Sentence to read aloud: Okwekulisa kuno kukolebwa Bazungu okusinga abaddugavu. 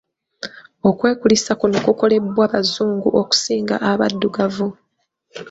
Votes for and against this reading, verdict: 0, 2, rejected